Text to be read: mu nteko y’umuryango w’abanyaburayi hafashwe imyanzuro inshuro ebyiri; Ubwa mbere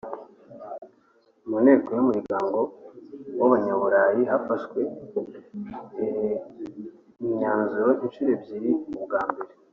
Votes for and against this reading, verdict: 1, 2, rejected